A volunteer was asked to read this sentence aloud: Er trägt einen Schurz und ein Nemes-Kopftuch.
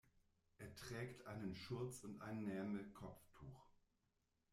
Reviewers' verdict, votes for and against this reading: rejected, 1, 2